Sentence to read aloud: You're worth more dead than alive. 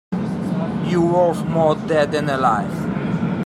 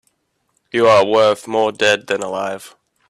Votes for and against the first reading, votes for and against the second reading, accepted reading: 1, 2, 2, 1, second